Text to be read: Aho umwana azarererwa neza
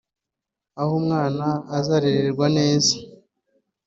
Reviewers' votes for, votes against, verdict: 3, 1, accepted